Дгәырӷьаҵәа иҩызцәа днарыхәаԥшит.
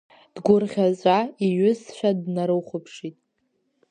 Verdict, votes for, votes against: accepted, 2, 1